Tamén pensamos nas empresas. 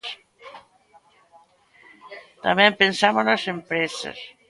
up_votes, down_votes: 2, 0